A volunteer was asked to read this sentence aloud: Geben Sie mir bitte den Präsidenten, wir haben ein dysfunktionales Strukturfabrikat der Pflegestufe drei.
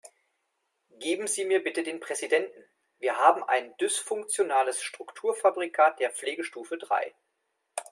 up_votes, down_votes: 2, 0